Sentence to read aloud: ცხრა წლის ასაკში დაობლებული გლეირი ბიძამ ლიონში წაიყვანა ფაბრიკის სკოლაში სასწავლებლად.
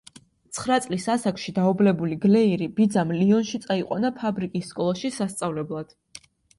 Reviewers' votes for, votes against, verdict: 2, 0, accepted